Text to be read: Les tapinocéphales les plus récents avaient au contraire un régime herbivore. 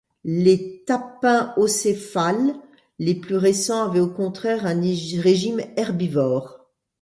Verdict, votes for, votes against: rejected, 1, 2